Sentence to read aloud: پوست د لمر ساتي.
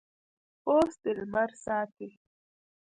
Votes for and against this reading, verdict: 1, 2, rejected